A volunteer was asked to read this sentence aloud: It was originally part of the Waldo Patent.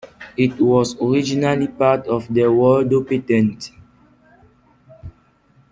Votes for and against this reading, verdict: 2, 1, accepted